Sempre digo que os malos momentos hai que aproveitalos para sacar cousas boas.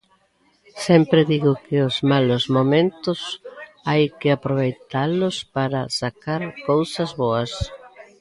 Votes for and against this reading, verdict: 1, 2, rejected